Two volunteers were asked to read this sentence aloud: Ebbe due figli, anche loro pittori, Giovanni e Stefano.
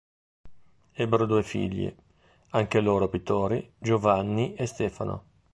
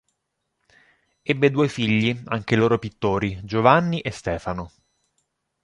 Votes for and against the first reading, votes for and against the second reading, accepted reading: 1, 3, 3, 0, second